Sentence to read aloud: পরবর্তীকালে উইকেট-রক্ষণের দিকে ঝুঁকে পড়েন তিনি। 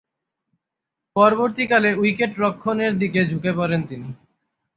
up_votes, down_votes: 6, 6